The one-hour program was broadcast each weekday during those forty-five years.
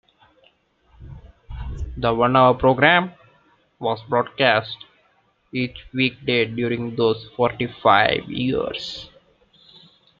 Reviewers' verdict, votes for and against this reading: accepted, 2, 0